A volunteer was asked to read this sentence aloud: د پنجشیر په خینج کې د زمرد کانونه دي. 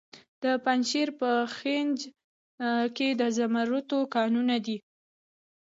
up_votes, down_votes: 0, 2